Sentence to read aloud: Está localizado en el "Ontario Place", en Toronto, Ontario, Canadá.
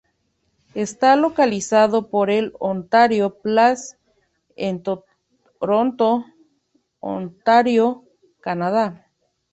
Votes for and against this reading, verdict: 0, 2, rejected